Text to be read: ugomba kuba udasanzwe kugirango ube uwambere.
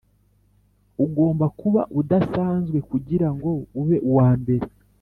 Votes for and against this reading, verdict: 3, 0, accepted